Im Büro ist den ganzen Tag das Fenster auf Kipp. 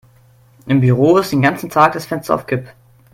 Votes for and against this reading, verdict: 2, 0, accepted